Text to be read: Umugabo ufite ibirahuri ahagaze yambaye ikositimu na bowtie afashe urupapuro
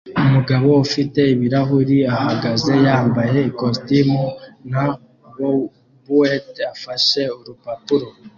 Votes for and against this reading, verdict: 2, 0, accepted